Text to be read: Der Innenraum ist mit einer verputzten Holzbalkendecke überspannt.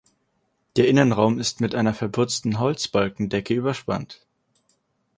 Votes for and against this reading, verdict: 4, 0, accepted